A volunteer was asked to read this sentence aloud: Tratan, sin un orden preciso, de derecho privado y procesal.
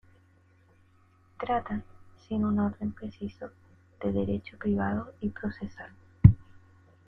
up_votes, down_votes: 2, 1